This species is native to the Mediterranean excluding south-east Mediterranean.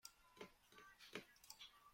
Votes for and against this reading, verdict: 0, 2, rejected